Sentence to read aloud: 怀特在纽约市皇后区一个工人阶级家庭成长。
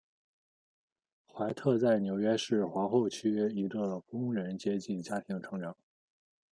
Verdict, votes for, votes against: accepted, 2, 0